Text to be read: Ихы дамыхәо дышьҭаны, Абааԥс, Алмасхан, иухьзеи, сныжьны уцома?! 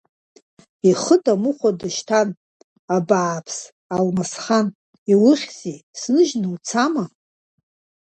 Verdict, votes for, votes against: rejected, 1, 2